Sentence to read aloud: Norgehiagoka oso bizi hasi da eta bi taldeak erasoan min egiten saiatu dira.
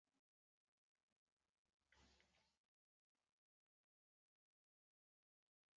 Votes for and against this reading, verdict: 0, 3, rejected